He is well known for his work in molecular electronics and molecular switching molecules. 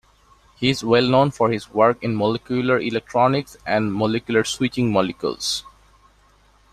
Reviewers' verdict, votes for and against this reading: accepted, 2, 1